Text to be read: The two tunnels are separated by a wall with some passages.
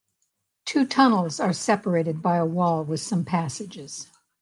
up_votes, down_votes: 0, 2